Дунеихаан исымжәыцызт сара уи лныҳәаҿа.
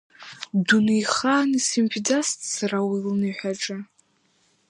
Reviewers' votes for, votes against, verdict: 3, 4, rejected